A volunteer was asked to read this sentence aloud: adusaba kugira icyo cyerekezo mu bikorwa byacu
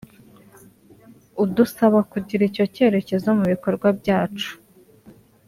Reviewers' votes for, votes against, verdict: 1, 2, rejected